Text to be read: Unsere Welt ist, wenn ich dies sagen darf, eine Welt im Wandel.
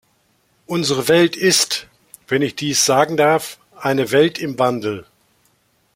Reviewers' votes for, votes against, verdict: 2, 0, accepted